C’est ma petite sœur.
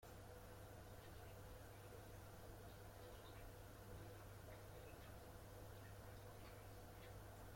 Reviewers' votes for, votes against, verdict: 0, 2, rejected